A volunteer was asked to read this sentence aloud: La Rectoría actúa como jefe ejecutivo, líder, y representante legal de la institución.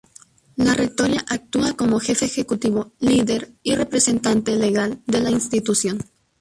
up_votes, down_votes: 0, 2